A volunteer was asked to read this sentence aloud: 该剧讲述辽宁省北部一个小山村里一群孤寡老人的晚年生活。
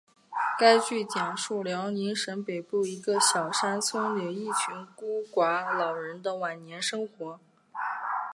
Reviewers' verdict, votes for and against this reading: accepted, 2, 0